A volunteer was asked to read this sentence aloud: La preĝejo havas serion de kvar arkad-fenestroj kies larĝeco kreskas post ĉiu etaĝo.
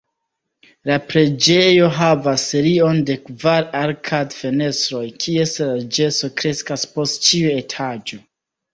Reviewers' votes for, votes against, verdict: 2, 1, accepted